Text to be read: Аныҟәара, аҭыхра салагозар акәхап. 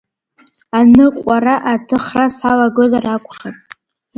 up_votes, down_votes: 2, 0